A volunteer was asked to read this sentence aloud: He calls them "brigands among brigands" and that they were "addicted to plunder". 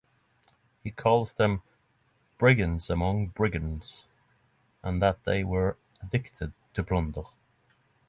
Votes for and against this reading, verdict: 6, 0, accepted